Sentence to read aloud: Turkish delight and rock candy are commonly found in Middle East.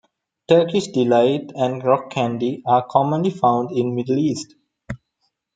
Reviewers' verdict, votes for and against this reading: accepted, 2, 0